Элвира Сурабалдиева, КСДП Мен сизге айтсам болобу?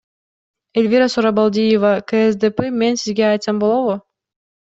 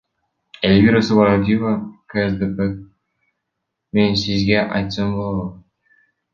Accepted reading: first